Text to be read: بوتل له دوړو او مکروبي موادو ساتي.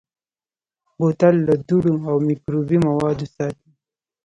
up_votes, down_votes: 1, 2